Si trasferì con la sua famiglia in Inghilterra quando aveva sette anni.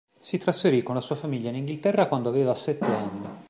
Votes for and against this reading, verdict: 2, 0, accepted